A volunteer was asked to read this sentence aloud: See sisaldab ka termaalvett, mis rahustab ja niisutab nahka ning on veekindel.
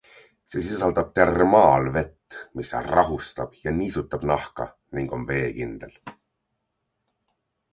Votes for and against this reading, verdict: 2, 0, accepted